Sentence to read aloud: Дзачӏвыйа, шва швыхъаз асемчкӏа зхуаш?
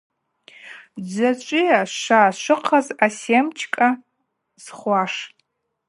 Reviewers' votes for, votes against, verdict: 2, 0, accepted